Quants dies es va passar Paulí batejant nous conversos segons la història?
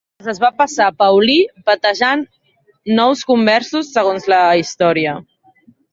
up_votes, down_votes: 0, 2